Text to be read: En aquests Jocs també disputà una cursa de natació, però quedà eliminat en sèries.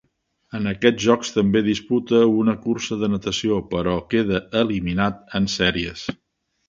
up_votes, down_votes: 0, 2